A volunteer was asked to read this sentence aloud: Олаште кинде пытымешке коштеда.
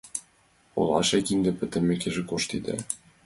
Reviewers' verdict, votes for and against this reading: accepted, 2, 0